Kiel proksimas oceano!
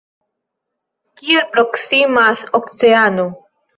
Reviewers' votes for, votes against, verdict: 0, 2, rejected